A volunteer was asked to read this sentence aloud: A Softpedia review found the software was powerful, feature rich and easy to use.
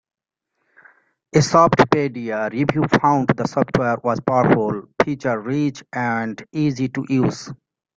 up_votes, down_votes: 2, 0